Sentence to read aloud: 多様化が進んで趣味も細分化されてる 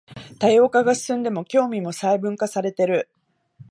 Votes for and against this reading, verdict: 0, 2, rejected